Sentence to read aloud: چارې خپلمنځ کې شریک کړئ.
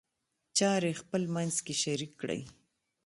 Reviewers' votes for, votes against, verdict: 2, 0, accepted